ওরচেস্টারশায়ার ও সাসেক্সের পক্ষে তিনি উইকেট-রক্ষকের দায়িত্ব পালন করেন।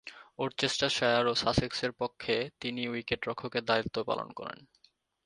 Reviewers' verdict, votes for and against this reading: accepted, 2, 0